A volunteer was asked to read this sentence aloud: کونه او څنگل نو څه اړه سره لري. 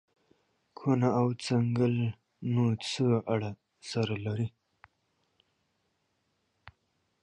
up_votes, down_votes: 1, 2